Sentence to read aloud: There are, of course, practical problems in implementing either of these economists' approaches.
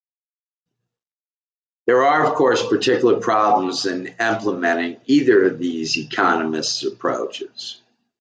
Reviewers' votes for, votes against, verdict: 0, 2, rejected